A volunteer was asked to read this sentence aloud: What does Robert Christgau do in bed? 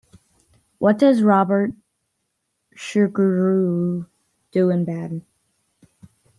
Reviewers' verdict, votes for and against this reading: rejected, 1, 2